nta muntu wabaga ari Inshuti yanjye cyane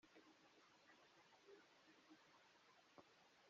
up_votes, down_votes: 0, 2